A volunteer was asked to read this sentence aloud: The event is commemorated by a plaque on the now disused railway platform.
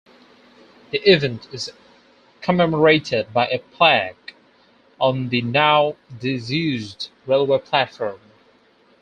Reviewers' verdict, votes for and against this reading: accepted, 4, 0